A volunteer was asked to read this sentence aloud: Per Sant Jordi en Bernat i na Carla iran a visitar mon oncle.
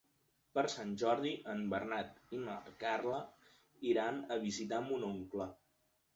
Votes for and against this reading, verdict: 3, 0, accepted